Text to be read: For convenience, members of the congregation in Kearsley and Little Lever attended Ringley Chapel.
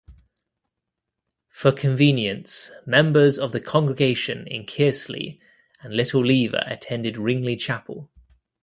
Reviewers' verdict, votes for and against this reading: accepted, 2, 0